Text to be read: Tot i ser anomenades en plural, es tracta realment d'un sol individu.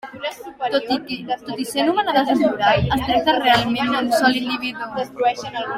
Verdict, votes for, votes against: rejected, 1, 2